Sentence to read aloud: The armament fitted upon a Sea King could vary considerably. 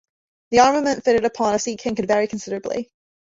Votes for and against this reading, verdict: 1, 2, rejected